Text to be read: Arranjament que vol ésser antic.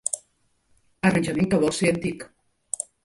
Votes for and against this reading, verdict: 2, 0, accepted